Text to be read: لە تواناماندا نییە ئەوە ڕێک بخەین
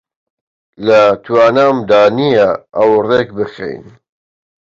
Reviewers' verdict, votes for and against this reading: rejected, 0, 2